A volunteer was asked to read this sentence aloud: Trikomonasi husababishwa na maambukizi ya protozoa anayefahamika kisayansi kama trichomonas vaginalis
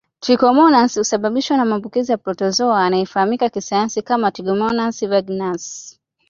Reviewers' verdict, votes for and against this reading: accepted, 2, 1